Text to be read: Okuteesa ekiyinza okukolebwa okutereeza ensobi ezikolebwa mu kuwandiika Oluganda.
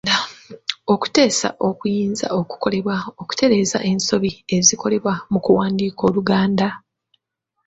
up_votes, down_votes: 1, 2